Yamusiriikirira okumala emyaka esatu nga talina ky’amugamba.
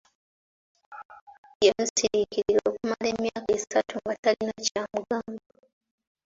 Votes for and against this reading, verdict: 3, 2, accepted